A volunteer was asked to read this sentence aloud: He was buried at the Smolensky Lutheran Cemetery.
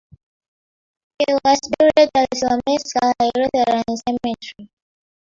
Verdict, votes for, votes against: rejected, 0, 2